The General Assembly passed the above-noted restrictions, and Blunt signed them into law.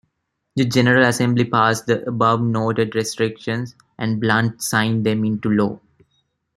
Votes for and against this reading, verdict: 2, 0, accepted